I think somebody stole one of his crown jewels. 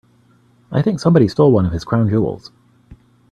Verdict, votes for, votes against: accepted, 3, 0